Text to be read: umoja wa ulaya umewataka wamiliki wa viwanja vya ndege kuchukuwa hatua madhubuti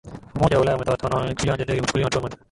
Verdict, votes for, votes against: rejected, 0, 3